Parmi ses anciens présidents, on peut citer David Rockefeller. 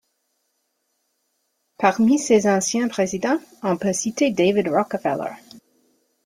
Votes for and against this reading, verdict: 2, 0, accepted